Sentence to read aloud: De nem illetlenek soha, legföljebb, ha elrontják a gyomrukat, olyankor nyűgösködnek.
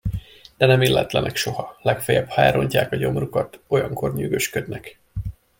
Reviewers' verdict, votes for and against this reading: accepted, 2, 0